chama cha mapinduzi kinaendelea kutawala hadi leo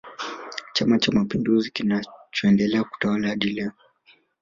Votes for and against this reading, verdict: 0, 2, rejected